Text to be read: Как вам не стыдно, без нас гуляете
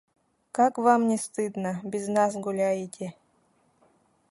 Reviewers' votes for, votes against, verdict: 0, 2, rejected